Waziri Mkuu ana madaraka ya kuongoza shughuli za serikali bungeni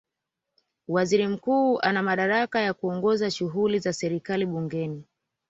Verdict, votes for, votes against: rejected, 1, 2